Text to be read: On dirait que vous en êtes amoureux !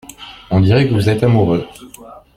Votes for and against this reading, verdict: 0, 2, rejected